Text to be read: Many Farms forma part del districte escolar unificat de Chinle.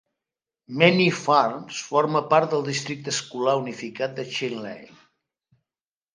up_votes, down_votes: 1, 2